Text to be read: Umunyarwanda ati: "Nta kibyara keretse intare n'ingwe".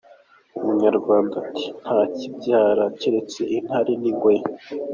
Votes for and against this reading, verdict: 2, 0, accepted